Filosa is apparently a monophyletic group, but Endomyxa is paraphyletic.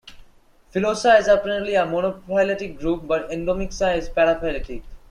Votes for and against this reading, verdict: 2, 1, accepted